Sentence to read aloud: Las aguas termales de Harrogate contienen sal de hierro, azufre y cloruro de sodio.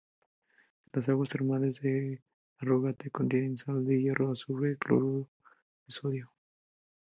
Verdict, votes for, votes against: rejected, 0, 2